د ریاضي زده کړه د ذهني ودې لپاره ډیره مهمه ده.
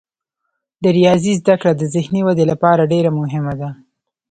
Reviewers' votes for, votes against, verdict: 2, 0, accepted